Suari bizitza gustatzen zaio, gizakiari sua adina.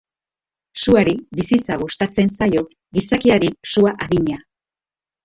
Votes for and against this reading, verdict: 1, 2, rejected